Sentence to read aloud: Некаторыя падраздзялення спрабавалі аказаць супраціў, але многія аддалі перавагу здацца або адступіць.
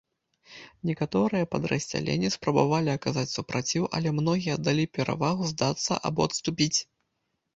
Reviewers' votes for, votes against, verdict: 2, 0, accepted